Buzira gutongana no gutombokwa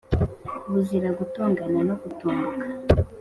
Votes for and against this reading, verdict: 3, 0, accepted